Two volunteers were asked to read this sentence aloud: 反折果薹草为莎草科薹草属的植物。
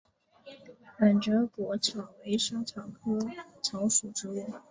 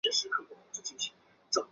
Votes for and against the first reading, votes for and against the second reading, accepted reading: 2, 1, 1, 3, first